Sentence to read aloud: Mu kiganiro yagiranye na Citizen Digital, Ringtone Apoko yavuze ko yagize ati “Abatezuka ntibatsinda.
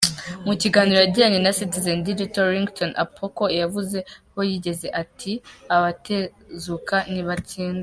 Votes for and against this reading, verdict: 1, 2, rejected